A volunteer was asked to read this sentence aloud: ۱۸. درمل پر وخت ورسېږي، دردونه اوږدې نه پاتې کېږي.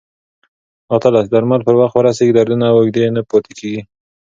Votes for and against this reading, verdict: 0, 2, rejected